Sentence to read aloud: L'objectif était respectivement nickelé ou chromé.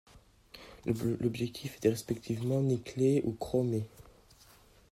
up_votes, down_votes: 0, 2